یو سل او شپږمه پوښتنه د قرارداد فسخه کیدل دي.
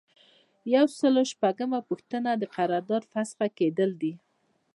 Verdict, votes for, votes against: rejected, 1, 2